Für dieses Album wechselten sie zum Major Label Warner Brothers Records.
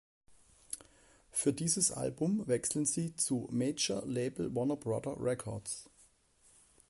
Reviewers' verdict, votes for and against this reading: rejected, 0, 4